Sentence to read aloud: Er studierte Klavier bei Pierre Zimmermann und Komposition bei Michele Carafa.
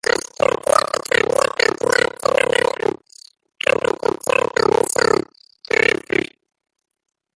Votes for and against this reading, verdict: 0, 3, rejected